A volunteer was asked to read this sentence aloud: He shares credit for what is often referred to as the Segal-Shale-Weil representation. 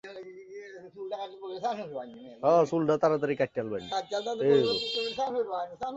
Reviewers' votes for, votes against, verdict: 0, 2, rejected